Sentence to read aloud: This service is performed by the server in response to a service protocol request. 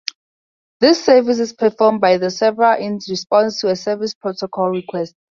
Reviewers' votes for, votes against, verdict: 2, 0, accepted